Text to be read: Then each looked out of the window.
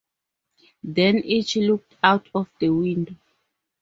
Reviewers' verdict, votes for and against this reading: rejected, 2, 2